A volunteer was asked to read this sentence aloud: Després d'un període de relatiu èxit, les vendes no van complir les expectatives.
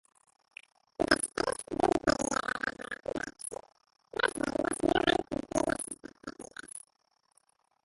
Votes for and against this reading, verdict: 0, 2, rejected